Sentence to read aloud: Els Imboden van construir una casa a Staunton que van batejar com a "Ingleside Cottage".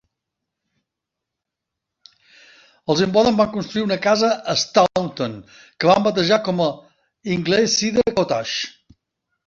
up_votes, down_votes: 2, 0